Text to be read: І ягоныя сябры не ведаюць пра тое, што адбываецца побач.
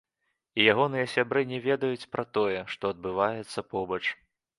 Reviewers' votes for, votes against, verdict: 2, 0, accepted